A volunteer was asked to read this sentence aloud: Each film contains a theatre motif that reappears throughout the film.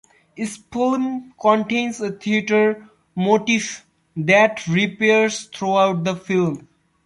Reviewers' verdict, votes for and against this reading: rejected, 0, 2